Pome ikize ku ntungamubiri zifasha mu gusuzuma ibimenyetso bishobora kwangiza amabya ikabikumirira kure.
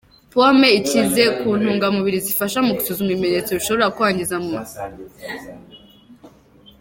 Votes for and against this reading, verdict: 0, 2, rejected